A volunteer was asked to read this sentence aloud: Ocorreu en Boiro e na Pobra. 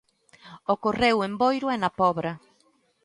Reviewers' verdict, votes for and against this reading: accepted, 2, 0